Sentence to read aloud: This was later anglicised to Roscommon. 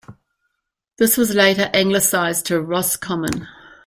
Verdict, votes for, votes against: accepted, 2, 0